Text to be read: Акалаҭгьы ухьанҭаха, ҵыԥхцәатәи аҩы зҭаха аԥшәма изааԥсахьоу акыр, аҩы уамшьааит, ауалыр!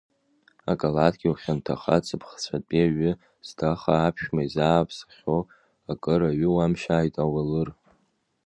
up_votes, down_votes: 2, 1